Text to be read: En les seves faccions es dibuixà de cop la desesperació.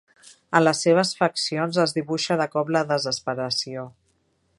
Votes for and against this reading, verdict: 1, 2, rejected